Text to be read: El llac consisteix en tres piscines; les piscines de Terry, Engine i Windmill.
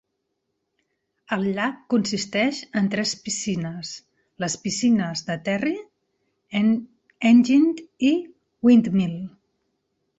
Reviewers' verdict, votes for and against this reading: rejected, 0, 2